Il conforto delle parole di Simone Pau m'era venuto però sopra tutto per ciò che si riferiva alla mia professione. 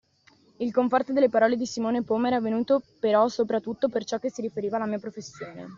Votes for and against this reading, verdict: 2, 0, accepted